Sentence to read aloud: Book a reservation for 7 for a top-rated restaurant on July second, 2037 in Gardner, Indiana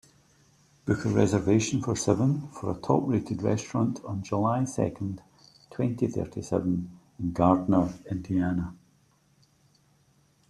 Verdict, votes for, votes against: rejected, 0, 2